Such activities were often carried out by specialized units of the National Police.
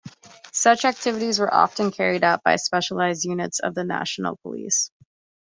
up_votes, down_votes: 2, 0